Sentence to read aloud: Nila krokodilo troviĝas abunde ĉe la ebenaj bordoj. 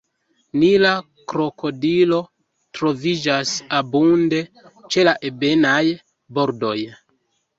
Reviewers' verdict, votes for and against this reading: accepted, 2, 1